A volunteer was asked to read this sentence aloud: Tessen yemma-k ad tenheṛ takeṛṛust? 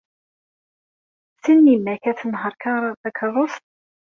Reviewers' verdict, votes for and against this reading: rejected, 0, 2